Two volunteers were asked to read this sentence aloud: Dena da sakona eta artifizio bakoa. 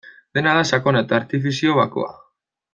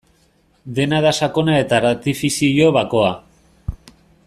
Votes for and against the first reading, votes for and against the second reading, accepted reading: 2, 0, 0, 2, first